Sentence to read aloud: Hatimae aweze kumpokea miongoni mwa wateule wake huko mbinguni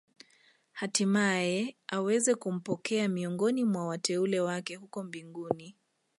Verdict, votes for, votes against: rejected, 1, 2